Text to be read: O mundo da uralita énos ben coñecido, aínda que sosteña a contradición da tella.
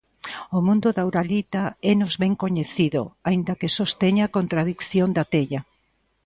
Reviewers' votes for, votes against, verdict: 2, 0, accepted